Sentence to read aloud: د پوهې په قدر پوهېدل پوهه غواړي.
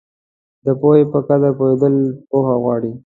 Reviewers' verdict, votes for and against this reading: accepted, 2, 0